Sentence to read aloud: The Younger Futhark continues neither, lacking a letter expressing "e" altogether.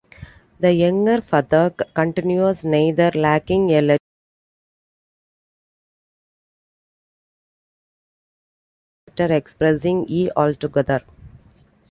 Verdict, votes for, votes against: rejected, 0, 2